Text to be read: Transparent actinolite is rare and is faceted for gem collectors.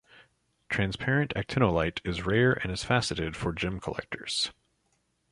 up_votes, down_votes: 2, 0